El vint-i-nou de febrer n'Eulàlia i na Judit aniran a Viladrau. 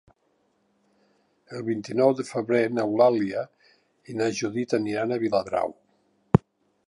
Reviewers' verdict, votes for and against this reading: accepted, 4, 0